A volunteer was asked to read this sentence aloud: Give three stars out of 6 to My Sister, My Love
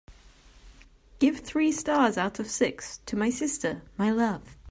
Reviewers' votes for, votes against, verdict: 0, 2, rejected